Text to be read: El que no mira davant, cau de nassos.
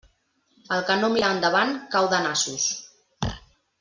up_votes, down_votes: 0, 2